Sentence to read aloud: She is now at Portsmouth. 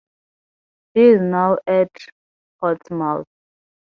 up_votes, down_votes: 0, 2